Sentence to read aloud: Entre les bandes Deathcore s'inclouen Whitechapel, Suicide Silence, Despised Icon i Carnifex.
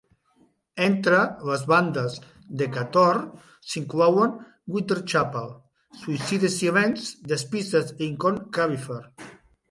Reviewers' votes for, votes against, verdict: 0, 3, rejected